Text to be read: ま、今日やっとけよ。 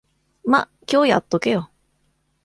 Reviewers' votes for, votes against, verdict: 2, 0, accepted